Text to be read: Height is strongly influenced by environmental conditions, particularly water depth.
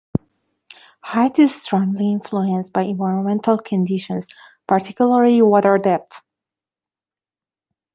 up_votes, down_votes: 1, 2